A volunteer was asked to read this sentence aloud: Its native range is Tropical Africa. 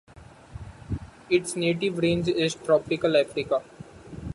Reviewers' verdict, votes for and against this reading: accepted, 2, 0